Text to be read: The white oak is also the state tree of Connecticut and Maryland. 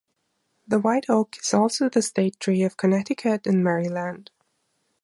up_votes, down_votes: 2, 0